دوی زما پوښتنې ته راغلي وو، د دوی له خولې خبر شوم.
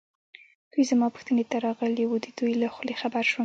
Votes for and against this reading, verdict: 1, 2, rejected